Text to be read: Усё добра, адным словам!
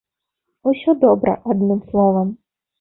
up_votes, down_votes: 1, 2